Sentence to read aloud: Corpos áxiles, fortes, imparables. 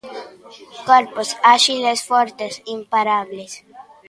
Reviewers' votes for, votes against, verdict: 2, 1, accepted